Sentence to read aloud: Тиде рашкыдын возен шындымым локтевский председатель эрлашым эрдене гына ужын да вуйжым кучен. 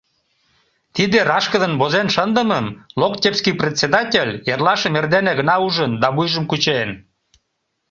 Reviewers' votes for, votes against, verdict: 2, 0, accepted